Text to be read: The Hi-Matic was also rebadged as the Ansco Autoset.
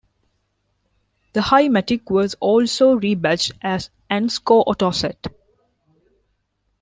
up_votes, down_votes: 1, 3